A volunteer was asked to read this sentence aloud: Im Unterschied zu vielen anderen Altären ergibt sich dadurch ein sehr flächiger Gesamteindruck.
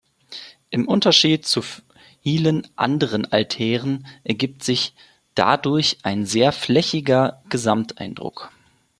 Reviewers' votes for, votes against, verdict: 1, 2, rejected